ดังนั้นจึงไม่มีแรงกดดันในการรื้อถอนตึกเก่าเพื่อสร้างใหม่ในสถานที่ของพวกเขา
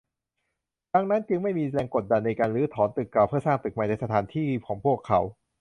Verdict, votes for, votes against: rejected, 0, 2